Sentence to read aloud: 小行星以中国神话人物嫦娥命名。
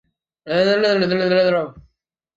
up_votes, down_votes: 0, 2